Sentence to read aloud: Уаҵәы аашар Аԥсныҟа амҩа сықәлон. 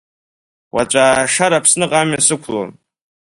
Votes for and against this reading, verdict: 2, 0, accepted